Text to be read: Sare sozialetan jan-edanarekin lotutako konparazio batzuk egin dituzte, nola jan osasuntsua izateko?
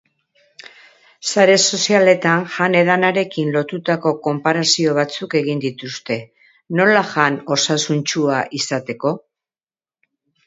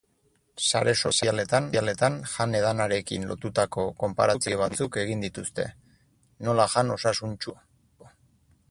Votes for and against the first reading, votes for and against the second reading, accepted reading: 4, 0, 0, 8, first